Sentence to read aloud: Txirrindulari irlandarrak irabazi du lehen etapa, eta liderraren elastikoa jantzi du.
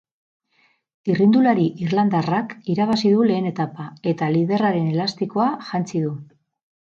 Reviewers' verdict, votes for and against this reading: rejected, 0, 4